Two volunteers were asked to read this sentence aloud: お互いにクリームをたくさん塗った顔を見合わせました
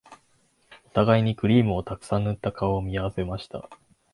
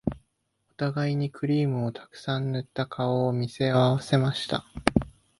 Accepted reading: first